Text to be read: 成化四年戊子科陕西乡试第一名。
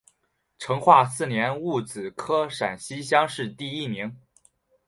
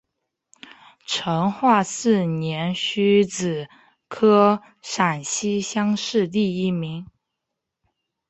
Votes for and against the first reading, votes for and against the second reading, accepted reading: 3, 0, 2, 3, first